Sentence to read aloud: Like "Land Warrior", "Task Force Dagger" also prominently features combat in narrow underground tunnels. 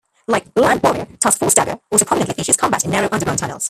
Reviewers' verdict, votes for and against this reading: rejected, 1, 2